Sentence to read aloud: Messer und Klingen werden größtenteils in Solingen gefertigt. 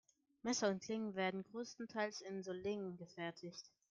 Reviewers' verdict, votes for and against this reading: rejected, 1, 2